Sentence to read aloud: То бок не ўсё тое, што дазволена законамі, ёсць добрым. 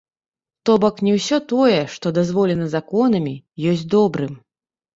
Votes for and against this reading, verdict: 0, 2, rejected